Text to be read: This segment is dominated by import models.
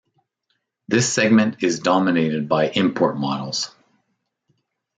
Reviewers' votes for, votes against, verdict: 2, 0, accepted